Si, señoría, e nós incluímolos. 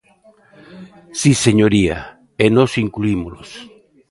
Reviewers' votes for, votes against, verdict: 1, 2, rejected